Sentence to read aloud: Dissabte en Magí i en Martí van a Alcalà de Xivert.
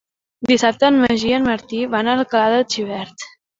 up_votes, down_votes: 2, 1